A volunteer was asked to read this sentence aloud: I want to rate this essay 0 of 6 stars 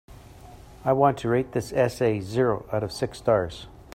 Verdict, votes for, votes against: rejected, 0, 2